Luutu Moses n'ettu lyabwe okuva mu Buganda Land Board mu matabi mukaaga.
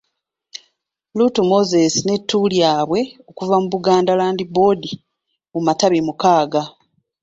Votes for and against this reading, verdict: 1, 2, rejected